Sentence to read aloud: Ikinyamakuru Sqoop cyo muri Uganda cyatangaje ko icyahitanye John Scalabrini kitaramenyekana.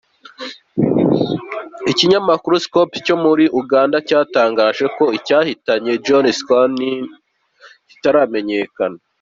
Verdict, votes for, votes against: accepted, 2, 0